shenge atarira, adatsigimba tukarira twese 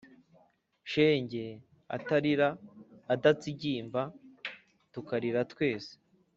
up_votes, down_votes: 3, 0